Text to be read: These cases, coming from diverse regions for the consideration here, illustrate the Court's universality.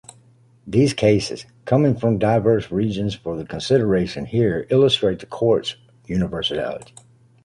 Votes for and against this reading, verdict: 2, 0, accepted